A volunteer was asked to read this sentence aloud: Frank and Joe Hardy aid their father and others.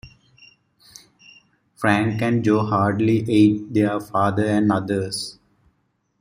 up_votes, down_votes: 2, 1